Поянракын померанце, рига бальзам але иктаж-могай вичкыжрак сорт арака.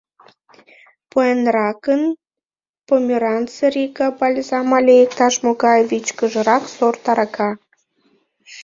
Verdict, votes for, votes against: rejected, 1, 2